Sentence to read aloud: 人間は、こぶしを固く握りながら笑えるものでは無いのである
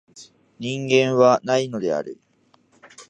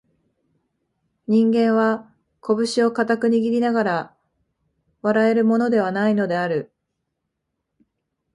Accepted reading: second